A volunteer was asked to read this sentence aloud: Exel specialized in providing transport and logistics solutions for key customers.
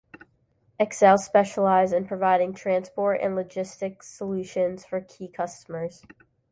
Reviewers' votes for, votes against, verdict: 2, 1, accepted